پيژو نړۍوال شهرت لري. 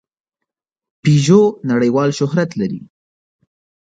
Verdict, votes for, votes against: accepted, 2, 0